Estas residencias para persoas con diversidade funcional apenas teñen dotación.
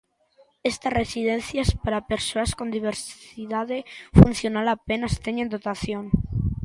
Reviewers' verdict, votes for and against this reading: rejected, 1, 2